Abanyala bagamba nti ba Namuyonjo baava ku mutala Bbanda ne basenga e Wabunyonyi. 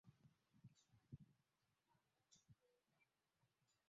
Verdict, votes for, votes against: rejected, 0, 3